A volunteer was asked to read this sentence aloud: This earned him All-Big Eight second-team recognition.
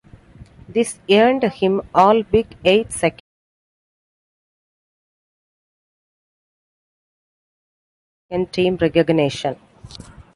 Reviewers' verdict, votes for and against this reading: rejected, 0, 2